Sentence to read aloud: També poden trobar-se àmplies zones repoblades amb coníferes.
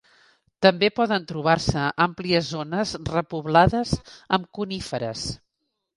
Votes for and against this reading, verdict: 3, 0, accepted